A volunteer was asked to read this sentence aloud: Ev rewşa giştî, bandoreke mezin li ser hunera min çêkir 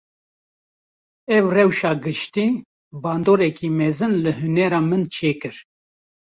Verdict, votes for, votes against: rejected, 1, 2